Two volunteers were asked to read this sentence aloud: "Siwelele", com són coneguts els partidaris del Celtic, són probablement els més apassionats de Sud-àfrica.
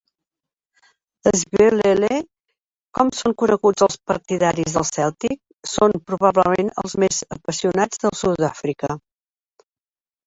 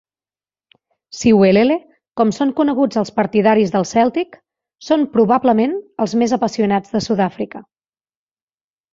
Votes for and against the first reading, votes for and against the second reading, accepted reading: 0, 2, 2, 0, second